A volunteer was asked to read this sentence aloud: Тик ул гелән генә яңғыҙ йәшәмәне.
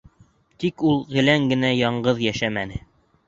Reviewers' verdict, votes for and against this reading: accepted, 3, 1